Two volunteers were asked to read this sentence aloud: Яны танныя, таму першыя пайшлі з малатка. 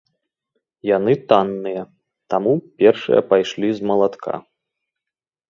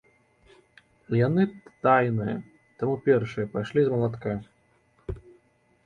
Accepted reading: first